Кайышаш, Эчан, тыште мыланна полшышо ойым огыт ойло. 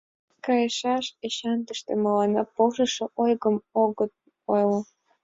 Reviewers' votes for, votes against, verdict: 2, 0, accepted